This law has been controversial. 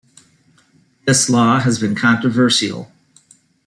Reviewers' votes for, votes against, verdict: 1, 2, rejected